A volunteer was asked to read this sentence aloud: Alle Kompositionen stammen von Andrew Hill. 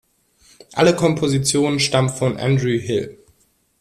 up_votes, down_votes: 1, 2